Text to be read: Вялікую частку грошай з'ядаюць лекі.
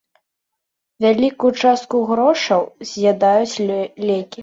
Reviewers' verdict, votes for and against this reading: rejected, 0, 2